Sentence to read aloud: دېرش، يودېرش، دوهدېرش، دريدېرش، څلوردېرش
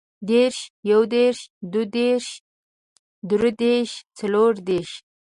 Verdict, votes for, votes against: accepted, 2, 0